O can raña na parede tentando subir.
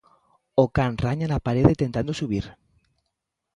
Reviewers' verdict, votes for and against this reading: accepted, 2, 0